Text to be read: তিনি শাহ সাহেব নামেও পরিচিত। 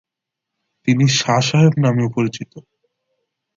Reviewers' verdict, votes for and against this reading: accepted, 2, 1